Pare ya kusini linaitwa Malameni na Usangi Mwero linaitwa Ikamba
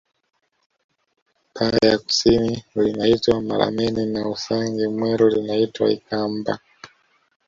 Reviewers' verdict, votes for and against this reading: rejected, 1, 2